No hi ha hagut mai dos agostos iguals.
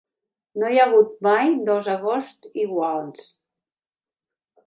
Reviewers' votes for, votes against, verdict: 1, 2, rejected